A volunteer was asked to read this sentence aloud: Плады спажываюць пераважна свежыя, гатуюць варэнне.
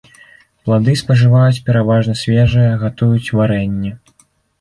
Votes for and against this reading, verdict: 2, 0, accepted